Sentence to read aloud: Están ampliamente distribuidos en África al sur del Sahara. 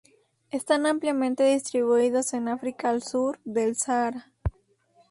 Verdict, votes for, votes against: rejected, 0, 2